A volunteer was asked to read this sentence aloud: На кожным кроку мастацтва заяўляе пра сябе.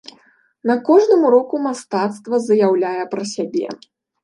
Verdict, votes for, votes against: rejected, 0, 2